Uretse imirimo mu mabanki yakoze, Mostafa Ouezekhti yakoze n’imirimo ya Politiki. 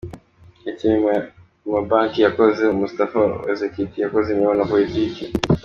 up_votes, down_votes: 1, 2